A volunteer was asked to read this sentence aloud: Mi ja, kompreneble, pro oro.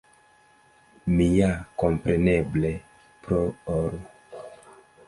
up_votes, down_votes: 1, 2